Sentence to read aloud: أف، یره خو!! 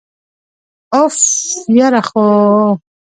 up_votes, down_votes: 2, 0